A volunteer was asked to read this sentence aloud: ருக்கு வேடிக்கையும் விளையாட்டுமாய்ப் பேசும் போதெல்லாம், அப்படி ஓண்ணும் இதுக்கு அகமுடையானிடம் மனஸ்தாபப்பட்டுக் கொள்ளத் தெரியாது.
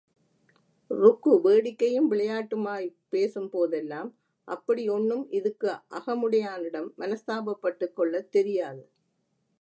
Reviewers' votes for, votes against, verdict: 2, 0, accepted